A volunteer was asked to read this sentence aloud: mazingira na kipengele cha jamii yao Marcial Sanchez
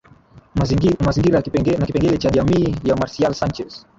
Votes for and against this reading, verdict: 1, 2, rejected